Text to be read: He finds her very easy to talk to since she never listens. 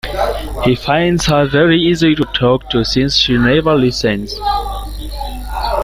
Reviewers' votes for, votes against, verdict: 2, 1, accepted